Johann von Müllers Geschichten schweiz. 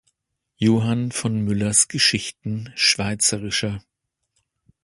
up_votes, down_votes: 0, 2